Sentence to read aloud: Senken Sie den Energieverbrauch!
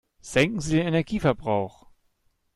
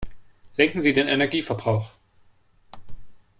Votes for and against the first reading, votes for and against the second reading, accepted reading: 1, 2, 2, 0, second